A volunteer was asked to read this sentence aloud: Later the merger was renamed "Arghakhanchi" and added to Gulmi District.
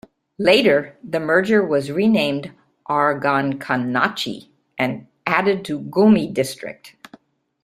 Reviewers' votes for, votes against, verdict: 0, 2, rejected